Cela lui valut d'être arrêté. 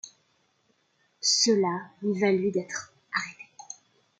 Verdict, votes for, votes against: rejected, 0, 2